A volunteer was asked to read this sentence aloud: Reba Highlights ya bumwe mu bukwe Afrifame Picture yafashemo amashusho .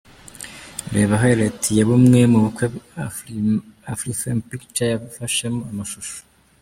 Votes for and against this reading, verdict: 0, 2, rejected